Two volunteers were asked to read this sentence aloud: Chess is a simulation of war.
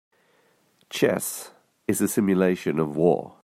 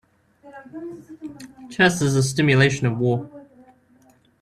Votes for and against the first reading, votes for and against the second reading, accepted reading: 2, 0, 0, 2, first